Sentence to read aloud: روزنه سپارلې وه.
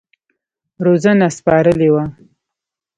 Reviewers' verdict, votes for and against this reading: accepted, 2, 0